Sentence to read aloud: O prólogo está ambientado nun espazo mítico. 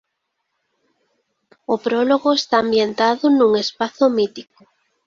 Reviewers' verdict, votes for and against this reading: accepted, 2, 0